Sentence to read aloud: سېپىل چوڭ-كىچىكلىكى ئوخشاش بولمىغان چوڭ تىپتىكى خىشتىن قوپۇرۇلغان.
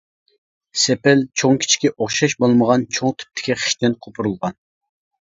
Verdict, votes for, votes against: rejected, 0, 2